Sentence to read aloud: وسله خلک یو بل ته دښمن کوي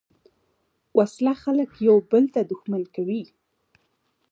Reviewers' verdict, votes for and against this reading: rejected, 1, 2